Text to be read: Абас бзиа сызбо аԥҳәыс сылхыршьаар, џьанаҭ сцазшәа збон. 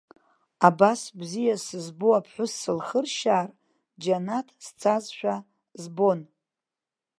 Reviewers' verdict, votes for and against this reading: accepted, 2, 0